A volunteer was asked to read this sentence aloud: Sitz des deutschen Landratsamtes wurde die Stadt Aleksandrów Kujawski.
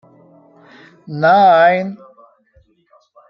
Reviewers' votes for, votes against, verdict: 0, 2, rejected